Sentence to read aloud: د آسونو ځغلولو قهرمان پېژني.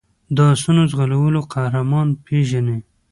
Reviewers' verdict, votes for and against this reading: accepted, 3, 1